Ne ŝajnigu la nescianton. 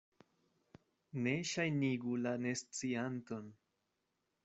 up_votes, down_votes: 2, 0